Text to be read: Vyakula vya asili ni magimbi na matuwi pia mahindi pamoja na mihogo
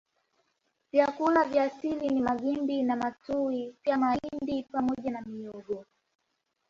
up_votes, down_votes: 2, 0